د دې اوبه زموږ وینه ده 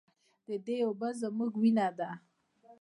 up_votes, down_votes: 2, 0